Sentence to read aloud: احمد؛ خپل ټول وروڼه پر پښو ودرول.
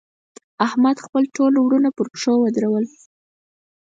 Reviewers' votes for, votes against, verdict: 0, 4, rejected